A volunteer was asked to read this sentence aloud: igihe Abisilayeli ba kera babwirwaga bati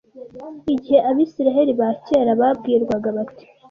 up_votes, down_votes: 0, 2